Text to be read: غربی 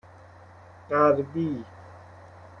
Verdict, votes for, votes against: accepted, 2, 1